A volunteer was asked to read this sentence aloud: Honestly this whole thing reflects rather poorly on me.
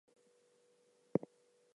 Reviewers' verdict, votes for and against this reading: rejected, 0, 2